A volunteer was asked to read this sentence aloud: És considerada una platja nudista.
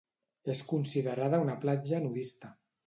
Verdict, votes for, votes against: accepted, 2, 0